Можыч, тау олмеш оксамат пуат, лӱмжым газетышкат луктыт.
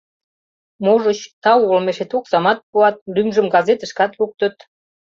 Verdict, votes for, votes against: rejected, 0, 2